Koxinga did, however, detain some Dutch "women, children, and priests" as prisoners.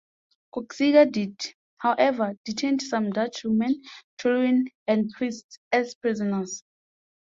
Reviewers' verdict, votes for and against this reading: accepted, 2, 1